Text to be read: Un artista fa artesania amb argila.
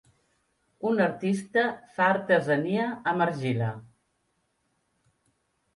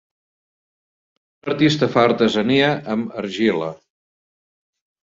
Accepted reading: first